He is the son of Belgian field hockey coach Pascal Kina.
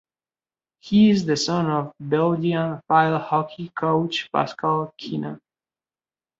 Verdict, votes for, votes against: rejected, 1, 3